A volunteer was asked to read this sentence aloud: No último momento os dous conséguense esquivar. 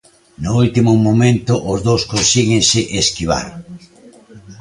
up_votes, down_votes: 0, 2